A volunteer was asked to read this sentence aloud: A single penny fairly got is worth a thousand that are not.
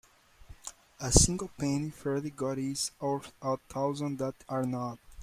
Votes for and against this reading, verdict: 0, 2, rejected